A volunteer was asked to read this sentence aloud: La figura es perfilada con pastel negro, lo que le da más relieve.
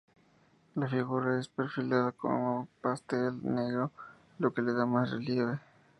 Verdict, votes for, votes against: rejected, 0, 2